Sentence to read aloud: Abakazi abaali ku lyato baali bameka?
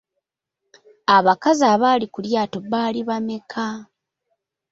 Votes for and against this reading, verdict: 2, 1, accepted